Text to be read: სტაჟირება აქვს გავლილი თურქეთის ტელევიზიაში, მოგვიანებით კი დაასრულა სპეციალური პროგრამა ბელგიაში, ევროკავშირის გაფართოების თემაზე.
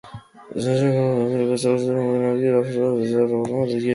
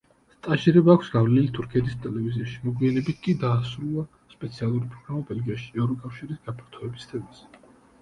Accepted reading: second